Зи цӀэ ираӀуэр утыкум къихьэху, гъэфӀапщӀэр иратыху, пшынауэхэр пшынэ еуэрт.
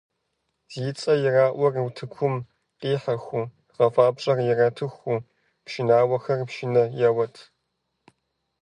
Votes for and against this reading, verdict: 1, 2, rejected